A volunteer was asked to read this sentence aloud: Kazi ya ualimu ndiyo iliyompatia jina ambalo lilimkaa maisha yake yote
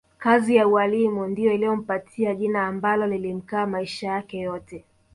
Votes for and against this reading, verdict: 1, 2, rejected